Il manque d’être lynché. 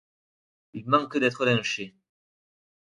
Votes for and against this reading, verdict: 2, 0, accepted